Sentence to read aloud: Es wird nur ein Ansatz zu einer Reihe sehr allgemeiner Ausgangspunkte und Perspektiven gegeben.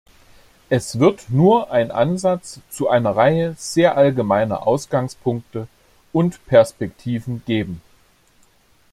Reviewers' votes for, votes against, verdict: 2, 1, accepted